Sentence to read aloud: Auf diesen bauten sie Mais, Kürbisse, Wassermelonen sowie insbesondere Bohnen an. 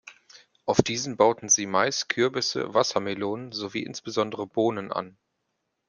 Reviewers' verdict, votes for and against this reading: accepted, 2, 0